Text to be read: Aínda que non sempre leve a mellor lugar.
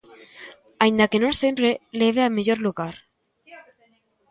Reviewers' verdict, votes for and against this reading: accepted, 2, 0